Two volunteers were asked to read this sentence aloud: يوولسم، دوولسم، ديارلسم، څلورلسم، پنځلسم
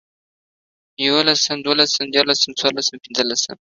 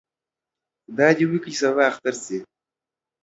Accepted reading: first